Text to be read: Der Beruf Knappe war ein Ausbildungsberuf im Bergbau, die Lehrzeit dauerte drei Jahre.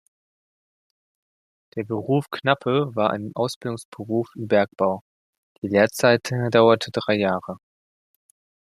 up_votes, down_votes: 1, 2